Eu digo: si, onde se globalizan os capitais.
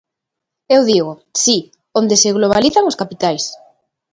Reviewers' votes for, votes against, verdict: 2, 0, accepted